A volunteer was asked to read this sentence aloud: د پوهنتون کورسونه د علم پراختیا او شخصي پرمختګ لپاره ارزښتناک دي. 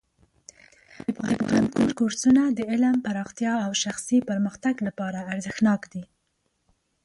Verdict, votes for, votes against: accepted, 2, 1